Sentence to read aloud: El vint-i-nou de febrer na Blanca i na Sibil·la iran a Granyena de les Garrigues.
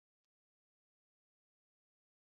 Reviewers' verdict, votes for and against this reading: rejected, 0, 2